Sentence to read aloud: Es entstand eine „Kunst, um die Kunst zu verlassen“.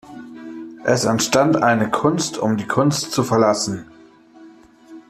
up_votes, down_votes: 0, 2